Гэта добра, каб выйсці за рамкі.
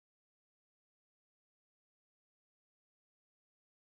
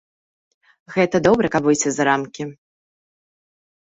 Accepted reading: second